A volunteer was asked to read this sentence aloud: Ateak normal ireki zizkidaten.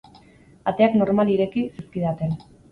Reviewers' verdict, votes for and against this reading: accepted, 4, 0